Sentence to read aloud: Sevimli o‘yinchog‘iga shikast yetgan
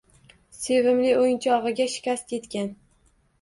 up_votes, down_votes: 2, 0